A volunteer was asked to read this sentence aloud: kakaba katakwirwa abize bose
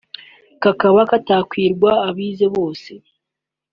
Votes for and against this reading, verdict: 2, 0, accepted